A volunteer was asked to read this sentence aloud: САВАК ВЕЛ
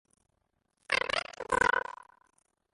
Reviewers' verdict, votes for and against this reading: rejected, 0, 2